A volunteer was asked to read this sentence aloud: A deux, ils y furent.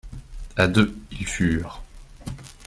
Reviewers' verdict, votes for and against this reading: rejected, 0, 2